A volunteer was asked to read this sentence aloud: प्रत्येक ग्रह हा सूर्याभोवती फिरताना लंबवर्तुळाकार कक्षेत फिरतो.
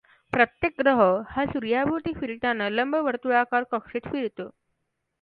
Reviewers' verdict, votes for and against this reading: accepted, 2, 0